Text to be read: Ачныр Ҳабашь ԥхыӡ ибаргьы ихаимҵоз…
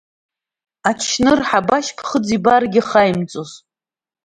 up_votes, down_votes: 1, 2